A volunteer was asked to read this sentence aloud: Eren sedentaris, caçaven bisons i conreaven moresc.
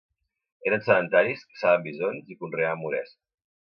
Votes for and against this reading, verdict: 0, 2, rejected